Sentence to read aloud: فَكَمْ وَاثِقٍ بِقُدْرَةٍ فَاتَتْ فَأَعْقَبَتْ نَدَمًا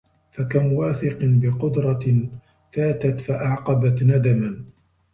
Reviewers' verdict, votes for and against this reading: rejected, 0, 2